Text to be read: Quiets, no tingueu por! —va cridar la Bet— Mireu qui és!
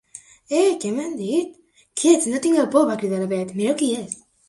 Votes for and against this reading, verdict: 0, 2, rejected